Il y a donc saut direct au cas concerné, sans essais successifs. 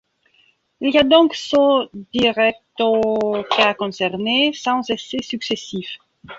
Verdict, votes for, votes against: rejected, 0, 2